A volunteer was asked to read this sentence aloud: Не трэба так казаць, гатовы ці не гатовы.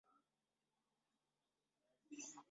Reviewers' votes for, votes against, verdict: 0, 2, rejected